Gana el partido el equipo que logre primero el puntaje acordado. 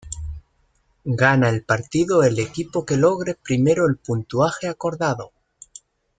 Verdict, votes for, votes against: rejected, 0, 2